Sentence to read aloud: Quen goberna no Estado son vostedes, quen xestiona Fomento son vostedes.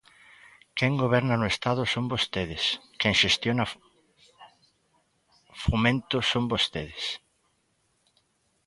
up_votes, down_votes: 0, 2